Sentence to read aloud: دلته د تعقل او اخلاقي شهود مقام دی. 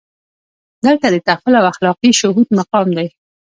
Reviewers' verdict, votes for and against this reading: accepted, 2, 0